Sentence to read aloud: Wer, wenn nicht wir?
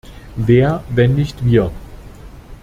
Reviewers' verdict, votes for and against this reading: accepted, 2, 0